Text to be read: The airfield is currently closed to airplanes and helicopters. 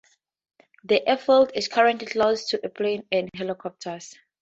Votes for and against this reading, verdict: 2, 2, rejected